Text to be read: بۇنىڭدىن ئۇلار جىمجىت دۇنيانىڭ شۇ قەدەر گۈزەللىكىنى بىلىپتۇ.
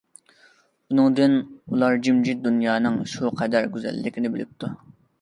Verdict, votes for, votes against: accepted, 2, 0